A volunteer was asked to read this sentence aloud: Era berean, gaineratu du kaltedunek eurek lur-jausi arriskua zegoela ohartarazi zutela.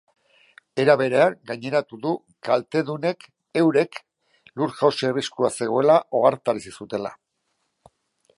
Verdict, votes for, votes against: accepted, 2, 0